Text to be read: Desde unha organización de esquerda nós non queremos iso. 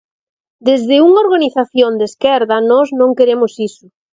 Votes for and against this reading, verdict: 2, 0, accepted